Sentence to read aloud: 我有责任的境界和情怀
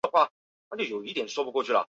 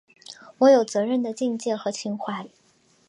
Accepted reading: second